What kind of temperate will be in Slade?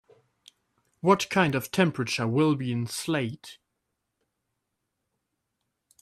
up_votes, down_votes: 0, 2